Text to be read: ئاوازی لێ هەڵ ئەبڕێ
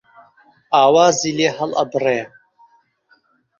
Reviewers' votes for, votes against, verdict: 0, 2, rejected